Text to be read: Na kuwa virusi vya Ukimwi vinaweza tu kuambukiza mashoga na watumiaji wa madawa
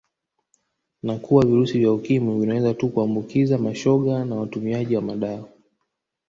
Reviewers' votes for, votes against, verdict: 1, 2, rejected